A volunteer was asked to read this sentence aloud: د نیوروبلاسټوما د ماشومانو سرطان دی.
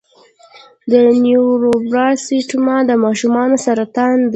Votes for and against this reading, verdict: 1, 2, rejected